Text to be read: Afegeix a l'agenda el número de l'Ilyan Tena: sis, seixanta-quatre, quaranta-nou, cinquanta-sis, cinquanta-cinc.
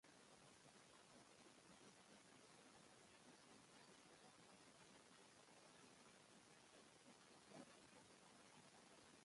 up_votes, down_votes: 0, 2